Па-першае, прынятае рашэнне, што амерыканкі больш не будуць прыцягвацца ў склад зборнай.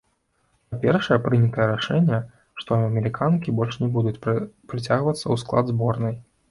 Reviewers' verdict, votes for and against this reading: rejected, 0, 2